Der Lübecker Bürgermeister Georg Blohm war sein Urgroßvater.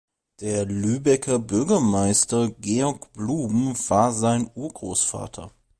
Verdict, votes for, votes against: accepted, 3, 2